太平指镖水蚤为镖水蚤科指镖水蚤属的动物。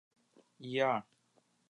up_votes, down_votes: 0, 3